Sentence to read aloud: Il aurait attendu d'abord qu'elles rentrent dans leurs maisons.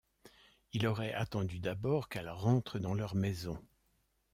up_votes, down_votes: 2, 0